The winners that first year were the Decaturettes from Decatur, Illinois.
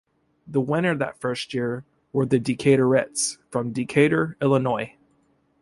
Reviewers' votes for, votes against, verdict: 1, 3, rejected